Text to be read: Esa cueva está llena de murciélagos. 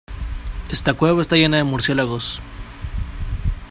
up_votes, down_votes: 1, 2